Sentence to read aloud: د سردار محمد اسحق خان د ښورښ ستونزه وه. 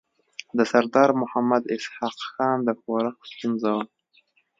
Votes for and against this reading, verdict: 3, 0, accepted